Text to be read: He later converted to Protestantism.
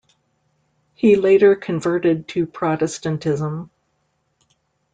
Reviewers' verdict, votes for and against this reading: accepted, 2, 0